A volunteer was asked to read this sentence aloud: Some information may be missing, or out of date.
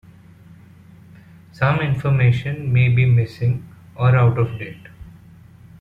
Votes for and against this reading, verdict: 2, 0, accepted